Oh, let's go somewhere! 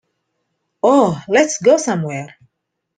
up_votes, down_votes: 2, 0